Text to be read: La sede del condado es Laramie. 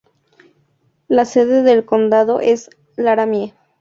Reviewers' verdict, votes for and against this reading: rejected, 0, 2